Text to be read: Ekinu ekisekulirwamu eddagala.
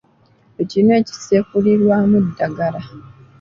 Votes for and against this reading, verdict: 2, 0, accepted